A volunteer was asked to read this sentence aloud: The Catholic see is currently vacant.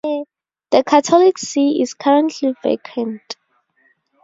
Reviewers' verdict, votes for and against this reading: rejected, 0, 2